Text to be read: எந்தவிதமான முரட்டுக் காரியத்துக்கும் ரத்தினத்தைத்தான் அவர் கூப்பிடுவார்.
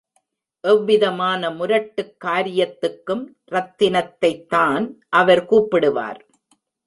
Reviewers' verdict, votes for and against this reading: accepted, 2, 0